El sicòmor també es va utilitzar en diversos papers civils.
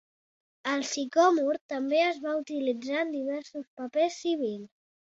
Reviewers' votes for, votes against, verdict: 0, 3, rejected